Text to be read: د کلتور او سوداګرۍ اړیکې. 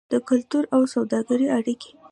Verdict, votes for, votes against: accepted, 2, 0